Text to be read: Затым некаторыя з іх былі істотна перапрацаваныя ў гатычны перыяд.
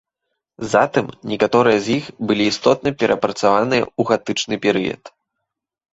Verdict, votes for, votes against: rejected, 0, 2